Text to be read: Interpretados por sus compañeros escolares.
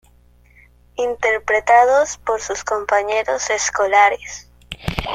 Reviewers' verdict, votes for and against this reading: accepted, 2, 0